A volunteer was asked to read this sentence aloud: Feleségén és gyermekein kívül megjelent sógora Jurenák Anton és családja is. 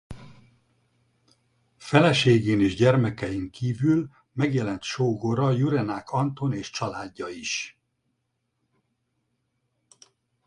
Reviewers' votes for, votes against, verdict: 4, 0, accepted